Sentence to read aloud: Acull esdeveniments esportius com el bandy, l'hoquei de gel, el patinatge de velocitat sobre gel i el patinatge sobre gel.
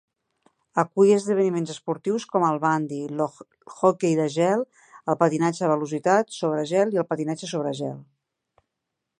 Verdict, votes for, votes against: rejected, 0, 2